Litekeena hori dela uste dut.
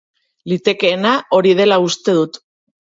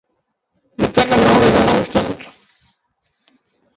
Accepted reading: first